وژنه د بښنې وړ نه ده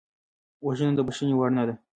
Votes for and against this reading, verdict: 0, 2, rejected